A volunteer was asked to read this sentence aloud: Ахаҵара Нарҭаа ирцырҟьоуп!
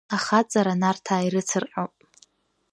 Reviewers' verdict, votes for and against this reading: accepted, 2, 0